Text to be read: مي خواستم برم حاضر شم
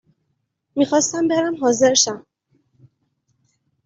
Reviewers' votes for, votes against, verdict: 2, 0, accepted